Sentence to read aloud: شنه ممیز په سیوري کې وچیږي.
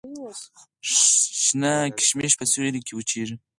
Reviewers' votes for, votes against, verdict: 4, 0, accepted